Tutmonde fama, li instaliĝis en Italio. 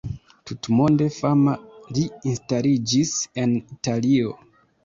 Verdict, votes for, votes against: rejected, 1, 2